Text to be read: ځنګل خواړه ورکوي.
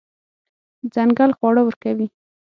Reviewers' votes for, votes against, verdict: 6, 3, accepted